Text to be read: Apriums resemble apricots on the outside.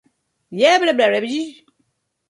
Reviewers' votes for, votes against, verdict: 0, 2, rejected